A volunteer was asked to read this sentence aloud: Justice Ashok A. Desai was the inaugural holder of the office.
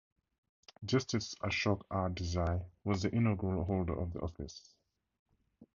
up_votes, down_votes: 2, 2